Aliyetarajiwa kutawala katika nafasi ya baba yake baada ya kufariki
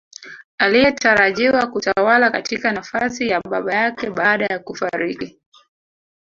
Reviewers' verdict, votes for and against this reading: rejected, 1, 2